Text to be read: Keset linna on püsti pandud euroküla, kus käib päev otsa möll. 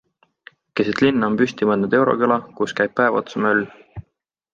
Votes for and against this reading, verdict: 3, 0, accepted